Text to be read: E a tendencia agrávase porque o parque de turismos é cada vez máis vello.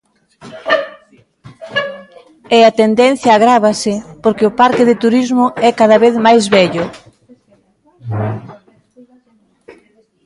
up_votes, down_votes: 0, 2